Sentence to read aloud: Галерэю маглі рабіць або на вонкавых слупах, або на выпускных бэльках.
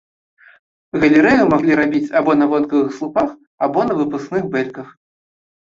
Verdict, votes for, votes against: accepted, 2, 0